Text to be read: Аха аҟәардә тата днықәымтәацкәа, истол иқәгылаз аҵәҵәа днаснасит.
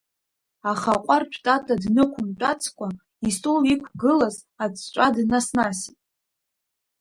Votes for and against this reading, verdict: 1, 2, rejected